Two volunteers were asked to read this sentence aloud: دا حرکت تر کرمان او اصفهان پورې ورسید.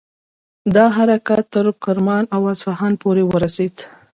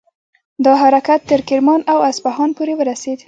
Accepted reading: second